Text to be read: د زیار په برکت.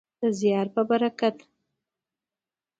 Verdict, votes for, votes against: accepted, 2, 0